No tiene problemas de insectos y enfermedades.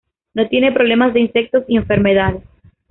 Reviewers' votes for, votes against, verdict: 2, 0, accepted